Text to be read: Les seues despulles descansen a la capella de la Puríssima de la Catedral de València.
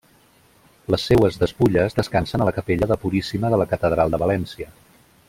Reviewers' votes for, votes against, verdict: 1, 2, rejected